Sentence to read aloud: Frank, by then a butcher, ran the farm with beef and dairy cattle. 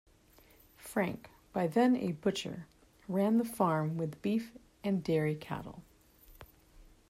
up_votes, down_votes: 2, 0